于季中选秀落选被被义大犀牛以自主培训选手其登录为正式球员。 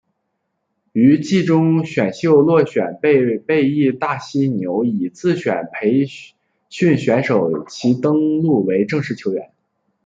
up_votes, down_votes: 2, 0